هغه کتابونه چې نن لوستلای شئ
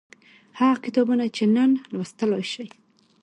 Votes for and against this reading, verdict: 2, 0, accepted